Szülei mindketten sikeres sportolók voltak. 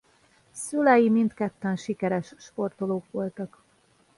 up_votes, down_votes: 2, 0